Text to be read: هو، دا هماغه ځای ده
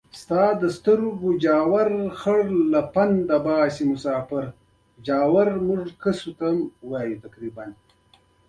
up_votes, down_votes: 2, 1